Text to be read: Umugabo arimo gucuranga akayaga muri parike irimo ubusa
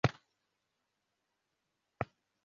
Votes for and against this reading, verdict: 0, 2, rejected